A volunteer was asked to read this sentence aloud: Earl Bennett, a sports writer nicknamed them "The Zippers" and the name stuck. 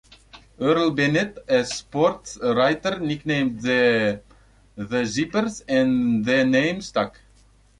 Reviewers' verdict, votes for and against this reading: rejected, 0, 2